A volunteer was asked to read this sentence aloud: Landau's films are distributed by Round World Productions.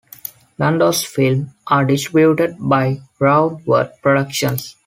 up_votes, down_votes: 0, 2